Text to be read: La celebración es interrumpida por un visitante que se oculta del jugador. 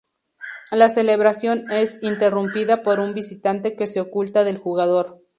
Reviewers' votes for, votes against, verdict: 2, 0, accepted